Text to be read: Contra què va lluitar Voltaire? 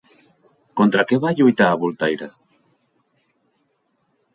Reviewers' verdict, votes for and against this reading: rejected, 1, 2